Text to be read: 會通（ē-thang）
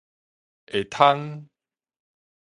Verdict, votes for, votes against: rejected, 0, 2